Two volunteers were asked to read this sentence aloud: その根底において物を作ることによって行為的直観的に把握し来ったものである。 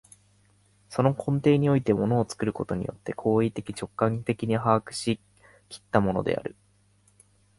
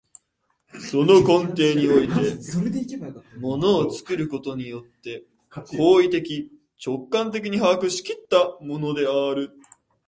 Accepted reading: first